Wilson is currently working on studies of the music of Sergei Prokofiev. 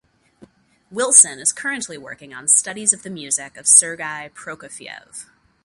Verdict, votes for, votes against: accepted, 2, 0